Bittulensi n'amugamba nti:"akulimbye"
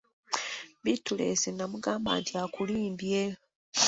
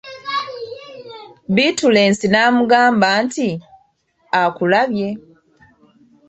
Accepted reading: first